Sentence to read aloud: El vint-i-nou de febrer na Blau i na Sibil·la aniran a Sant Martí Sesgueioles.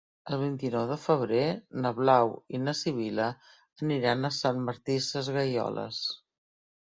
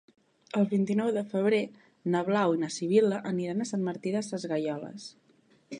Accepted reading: first